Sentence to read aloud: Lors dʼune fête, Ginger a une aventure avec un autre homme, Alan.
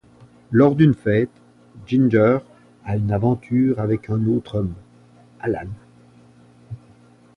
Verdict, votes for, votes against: rejected, 0, 2